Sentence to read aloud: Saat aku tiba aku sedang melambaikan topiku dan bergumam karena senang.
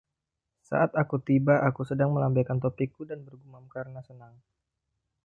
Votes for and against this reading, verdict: 0, 2, rejected